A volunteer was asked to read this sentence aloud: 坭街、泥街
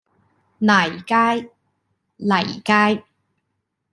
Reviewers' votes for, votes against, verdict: 2, 0, accepted